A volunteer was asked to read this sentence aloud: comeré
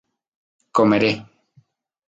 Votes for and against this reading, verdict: 0, 2, rejected